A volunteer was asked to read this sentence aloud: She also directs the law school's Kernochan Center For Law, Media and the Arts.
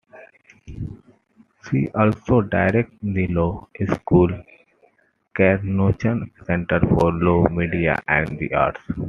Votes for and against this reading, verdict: 2, 0, accepted